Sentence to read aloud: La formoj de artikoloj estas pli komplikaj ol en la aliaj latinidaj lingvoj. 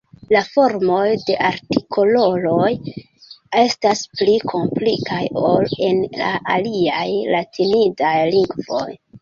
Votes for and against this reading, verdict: 2, 0, accepted